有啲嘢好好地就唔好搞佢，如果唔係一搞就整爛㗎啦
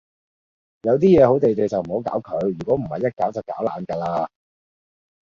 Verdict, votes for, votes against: rejected, 0, 2